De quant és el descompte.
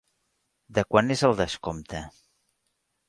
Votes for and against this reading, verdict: 3, 0, accepted